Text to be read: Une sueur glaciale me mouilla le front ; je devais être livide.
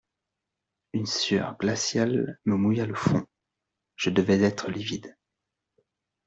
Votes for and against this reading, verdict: 2, 0, accepted